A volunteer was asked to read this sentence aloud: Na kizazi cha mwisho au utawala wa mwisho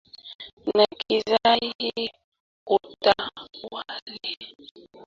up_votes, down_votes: 0, 3